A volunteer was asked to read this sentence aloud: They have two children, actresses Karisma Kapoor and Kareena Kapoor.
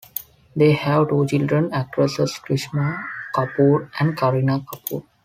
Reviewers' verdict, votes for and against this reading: rejected, 1, 2